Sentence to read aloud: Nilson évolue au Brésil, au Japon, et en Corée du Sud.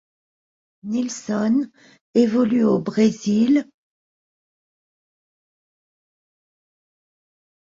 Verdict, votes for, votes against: rejected, 0, 2